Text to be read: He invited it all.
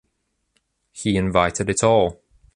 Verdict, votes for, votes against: rejected, 1, 2